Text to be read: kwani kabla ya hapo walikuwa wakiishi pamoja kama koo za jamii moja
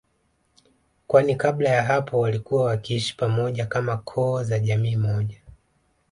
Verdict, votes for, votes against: accepted, 2, 0